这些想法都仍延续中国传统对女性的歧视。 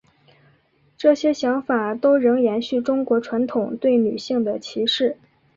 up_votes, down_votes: 4, 1